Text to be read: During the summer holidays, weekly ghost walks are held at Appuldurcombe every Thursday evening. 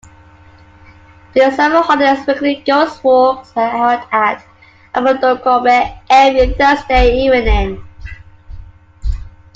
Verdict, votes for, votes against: rejected, 0, 2